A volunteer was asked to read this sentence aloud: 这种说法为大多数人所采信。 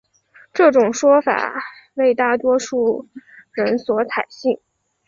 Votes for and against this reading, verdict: 6, 1, accepted